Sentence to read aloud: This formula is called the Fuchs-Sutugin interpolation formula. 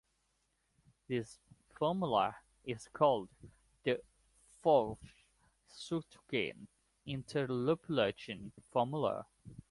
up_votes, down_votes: 1, 2